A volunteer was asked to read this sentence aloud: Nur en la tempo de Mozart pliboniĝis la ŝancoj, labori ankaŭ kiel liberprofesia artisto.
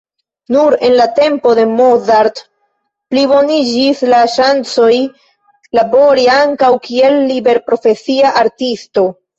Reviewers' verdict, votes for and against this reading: accepted, 2, 0